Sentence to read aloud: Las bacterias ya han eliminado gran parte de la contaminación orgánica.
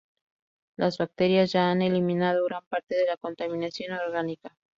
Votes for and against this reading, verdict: 0, 2, rejected